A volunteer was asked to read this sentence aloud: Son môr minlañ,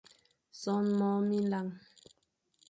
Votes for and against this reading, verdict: 2, 1, accepted